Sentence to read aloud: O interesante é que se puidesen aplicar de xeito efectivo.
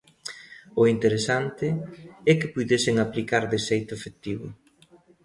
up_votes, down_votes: 0, 2